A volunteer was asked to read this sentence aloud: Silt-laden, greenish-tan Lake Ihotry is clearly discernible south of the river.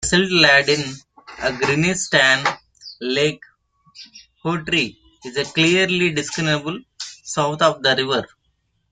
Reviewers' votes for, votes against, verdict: 1, 2, rejected